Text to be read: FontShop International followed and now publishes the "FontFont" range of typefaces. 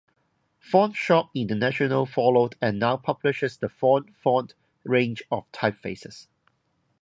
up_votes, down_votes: 2, 2